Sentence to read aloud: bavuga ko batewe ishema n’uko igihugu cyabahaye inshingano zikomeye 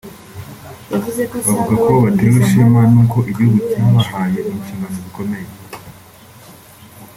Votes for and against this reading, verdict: 2, 3, rejected